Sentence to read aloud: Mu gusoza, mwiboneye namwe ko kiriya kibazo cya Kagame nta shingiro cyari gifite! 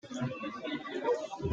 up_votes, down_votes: 0, 3